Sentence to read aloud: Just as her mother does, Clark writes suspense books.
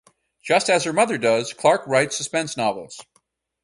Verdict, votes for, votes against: rejected, 0, 4